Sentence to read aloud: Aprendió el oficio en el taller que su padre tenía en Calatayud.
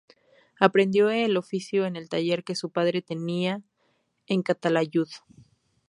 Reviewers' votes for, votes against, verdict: 0, 2, rejected